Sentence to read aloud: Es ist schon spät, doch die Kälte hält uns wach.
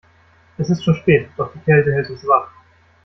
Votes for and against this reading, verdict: 1, 2, rejected